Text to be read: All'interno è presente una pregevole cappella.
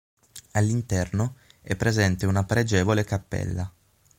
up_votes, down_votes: 6, 0